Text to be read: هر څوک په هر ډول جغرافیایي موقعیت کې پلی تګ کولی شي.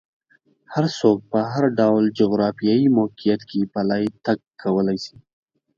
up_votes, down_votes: 4, 0